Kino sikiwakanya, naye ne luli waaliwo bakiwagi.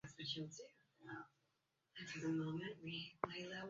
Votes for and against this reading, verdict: 0, 2, rejected